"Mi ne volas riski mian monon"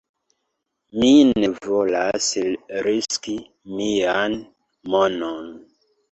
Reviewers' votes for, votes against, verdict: 0, 3, rejected